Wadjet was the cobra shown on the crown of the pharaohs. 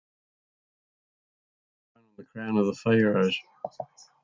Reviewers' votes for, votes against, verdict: 0, 3, rejected